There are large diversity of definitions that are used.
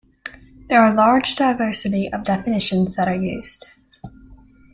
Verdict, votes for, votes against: accepted, 2, 0